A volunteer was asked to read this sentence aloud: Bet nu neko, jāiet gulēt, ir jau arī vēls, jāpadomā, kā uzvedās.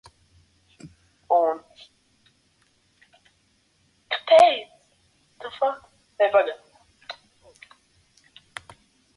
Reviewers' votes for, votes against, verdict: 0, 2, rejected